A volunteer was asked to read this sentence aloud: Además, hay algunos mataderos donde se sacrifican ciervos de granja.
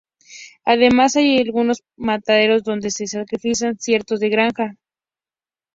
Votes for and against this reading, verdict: 0, 2, rejected